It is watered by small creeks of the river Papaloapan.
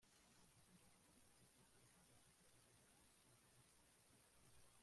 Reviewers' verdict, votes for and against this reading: rejected, 0, 2